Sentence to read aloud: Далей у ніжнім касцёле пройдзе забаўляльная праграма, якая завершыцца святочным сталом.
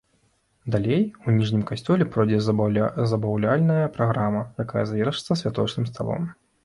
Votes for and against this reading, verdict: 1, 2, rejected